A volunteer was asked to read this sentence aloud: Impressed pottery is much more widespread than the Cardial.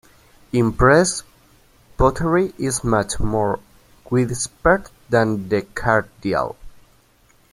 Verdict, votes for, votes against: rejected, 0, 2